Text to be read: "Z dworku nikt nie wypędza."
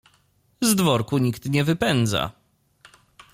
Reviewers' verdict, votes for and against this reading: accepted, 2, 0